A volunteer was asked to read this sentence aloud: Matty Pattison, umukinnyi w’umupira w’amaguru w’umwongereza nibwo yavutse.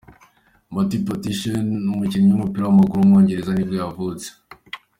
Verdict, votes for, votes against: accepted, 2, 0